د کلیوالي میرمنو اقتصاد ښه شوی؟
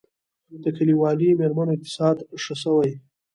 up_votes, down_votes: 2, 1